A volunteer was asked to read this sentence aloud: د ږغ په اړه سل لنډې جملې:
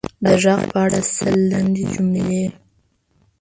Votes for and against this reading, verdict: 1, 2, rejected